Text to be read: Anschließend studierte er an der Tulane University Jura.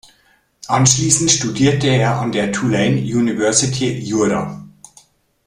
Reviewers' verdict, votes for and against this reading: accepted, 2, 0